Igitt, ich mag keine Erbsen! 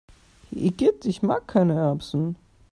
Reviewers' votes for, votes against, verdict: 2, 0, accepted